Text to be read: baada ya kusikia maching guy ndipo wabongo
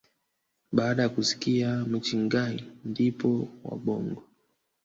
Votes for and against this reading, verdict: 0, 2, rejected